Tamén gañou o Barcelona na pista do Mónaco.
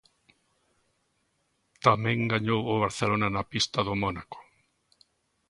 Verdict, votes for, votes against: accepted, 3, 0